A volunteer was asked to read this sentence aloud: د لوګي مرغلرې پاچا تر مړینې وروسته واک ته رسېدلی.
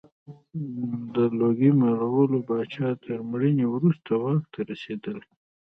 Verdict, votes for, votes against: accepted, 2, 1